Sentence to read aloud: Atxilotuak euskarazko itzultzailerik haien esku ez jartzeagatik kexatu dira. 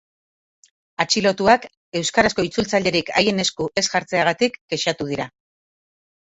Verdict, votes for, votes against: rejected, 2, 2